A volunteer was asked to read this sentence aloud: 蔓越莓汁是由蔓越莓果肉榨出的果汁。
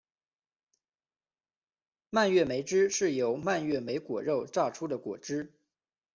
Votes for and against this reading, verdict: 2, 0, accepted